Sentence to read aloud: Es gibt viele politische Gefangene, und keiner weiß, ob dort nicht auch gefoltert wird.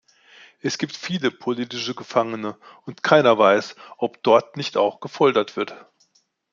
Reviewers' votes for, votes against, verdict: 2, 0, accepted